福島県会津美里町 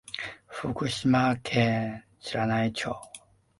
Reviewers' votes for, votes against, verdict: 0, 2, rejected